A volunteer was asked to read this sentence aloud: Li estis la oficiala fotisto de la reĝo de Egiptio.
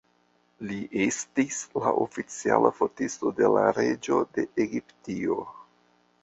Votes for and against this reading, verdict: 2, 1, accepted